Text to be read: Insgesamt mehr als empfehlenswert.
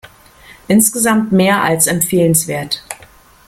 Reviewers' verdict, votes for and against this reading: accepted, 2, 0